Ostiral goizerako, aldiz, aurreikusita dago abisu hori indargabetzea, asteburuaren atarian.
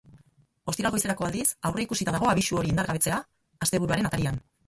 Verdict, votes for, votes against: rejected, 2, 4